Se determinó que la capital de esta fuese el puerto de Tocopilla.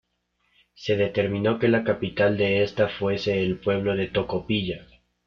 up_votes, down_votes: 1, 2